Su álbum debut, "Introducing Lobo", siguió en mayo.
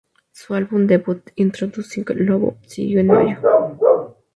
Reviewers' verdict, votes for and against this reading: rejected, 0, 2